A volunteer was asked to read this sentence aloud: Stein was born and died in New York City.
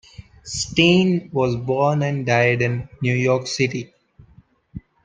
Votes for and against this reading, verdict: 2, 0, accepted